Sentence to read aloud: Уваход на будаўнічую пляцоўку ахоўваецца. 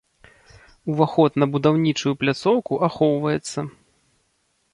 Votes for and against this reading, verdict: 2, 0, accepted